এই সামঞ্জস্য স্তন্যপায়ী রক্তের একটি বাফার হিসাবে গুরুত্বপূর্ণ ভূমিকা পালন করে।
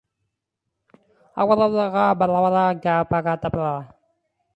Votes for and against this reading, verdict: 0, 3, rejected